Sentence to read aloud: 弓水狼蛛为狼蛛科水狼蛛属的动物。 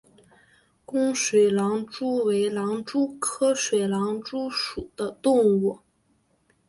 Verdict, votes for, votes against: accepted, 3, 0